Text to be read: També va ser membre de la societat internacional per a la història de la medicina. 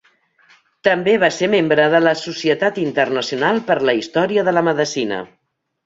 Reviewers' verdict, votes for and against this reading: rejected, 1, 2